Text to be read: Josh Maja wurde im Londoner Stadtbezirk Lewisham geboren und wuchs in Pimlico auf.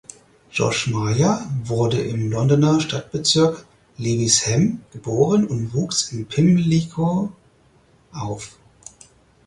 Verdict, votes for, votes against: accepted, 4, 2